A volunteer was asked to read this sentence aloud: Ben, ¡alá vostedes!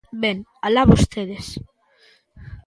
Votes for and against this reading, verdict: 2, 0, accepted